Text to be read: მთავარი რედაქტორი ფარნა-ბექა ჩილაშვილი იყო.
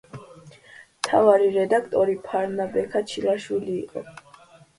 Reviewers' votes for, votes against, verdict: 2, 0, accepted